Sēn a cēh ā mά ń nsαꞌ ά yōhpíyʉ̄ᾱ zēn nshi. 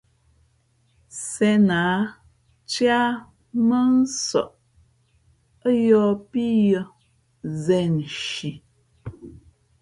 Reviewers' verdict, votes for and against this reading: accepted, 2, 1